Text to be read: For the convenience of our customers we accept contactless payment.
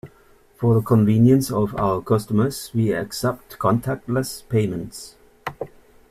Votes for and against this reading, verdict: 0, 2, rejected